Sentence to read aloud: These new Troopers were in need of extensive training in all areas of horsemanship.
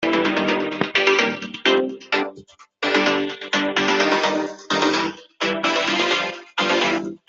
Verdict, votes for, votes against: rejected, 0, 2